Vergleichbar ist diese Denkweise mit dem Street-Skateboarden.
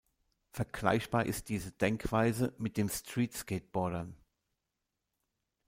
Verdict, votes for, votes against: rejected, 1, 2